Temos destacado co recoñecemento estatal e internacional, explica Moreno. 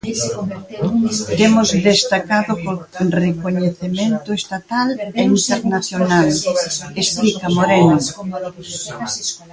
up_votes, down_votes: 1, 2